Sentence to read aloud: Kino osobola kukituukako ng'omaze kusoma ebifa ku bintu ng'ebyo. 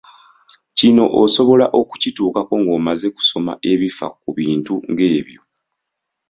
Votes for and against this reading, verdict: 0, 2, rejected